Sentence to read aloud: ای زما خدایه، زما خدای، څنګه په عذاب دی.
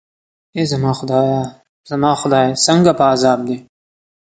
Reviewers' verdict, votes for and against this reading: accepted, 2, 0